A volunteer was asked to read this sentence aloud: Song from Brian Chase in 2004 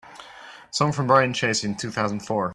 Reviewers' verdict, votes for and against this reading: rejected, 0, 2